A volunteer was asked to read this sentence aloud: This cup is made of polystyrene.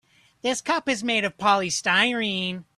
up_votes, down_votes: 2, 0